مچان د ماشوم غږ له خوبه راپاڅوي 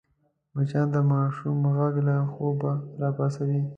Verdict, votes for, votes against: accepted, 2, 0